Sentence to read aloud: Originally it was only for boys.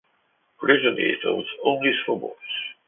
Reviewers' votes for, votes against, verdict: 2, 0, accepted